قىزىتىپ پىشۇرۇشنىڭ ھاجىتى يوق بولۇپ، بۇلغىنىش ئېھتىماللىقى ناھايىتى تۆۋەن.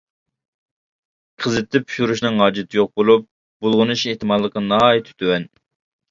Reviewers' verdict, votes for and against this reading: accepted, 2, 0